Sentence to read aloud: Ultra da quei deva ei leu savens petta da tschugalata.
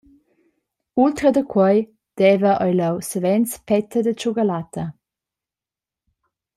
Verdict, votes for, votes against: accepted, 2, 0